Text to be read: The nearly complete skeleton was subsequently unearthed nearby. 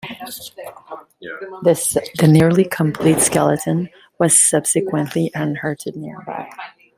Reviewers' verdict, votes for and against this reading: rejected, 0, 2